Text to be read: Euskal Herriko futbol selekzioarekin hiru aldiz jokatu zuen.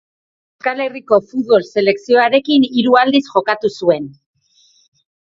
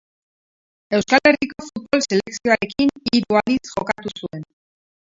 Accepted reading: first